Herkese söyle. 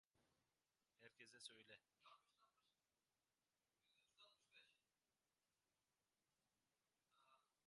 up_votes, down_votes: 0, 2